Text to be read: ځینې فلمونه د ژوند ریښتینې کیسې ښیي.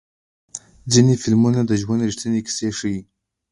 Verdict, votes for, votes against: accepted, 2, 0